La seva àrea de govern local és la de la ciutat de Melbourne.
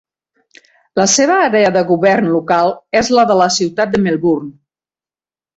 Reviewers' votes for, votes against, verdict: 2, 0, accepted